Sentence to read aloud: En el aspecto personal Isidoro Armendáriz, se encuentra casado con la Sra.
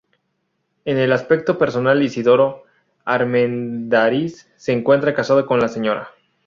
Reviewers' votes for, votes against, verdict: 2, 4, rejected